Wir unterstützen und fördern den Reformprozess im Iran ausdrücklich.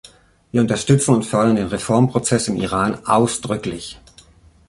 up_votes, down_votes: 2, 0